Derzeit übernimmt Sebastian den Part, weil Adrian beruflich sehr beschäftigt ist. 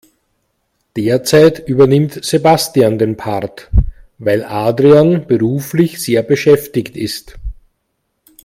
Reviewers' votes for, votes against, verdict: 2, 0, accepted